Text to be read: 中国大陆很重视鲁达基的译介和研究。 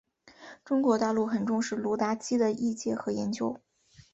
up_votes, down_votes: 2, 0